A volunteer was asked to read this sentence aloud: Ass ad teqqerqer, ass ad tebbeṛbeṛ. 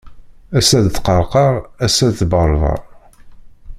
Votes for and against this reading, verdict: 1, 2, rejected